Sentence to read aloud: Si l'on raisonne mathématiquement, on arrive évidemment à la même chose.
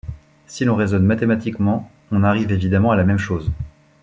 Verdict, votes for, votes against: accepted, 2, 0